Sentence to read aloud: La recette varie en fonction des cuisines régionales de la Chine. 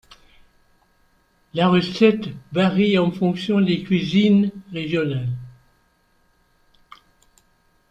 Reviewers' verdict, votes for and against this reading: rejected, 1, 3